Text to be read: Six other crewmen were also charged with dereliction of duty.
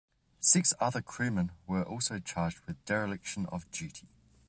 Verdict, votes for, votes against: accepted, 2, 0